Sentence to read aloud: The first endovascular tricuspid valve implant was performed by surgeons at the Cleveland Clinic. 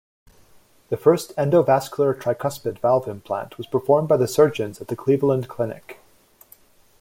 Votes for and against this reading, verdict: 1, 2, rejected